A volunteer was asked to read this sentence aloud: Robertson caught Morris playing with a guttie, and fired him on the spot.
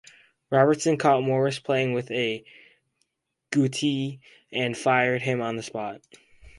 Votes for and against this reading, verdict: 2, 0, accepted